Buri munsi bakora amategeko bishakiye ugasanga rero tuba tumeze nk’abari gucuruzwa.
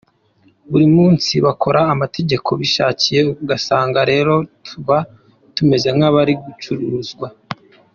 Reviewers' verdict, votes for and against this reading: accepted, 2, 0